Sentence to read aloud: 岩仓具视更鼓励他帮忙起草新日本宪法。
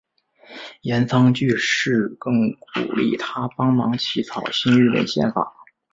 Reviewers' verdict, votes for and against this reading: accepted, 2, 0